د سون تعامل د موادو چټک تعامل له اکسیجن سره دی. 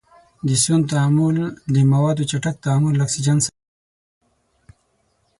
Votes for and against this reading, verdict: 0, 6, rejected